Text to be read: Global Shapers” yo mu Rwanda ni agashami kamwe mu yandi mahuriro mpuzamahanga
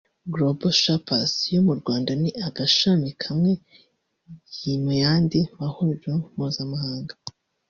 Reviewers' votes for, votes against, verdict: 1, 2, rejected